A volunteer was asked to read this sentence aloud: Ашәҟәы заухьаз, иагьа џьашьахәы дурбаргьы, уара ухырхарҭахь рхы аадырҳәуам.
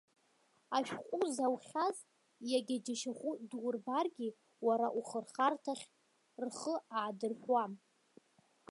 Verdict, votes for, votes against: accepted, 2, 1